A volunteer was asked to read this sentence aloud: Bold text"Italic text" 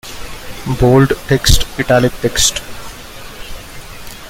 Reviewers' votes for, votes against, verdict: 0, 2, rejected